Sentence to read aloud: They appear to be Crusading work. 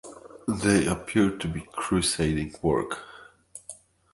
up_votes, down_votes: 2, 0